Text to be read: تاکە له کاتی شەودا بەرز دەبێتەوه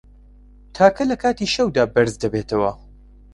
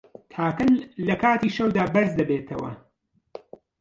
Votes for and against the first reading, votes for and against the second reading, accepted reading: 2, 0, 0, 2, first